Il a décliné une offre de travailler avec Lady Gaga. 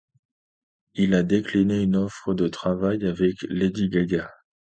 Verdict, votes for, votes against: rejected, 0, 2